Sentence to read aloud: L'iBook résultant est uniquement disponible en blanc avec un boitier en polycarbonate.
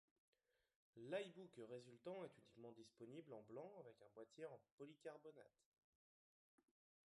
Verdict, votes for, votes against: accepted, 2, 0